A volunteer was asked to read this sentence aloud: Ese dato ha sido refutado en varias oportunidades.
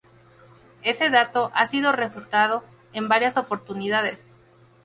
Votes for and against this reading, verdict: 0, 2, rejected